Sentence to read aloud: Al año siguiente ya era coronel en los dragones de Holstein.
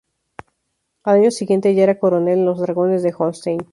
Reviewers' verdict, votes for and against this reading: accepted, 2, 0